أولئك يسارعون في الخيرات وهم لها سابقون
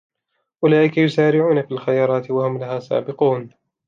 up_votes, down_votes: 2, 0